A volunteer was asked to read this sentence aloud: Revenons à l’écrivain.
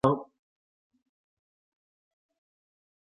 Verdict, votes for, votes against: rejected, 0, 2